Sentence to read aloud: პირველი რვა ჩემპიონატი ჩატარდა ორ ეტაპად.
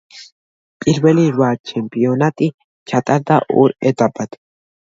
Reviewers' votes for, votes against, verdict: 2, 0, accepted